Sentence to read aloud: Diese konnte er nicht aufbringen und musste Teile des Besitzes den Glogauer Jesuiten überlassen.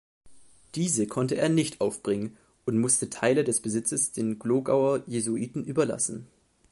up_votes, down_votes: 2, 0